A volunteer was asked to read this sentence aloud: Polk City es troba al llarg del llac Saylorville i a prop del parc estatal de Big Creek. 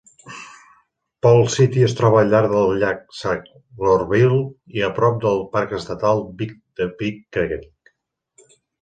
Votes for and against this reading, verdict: 0, 2, rejected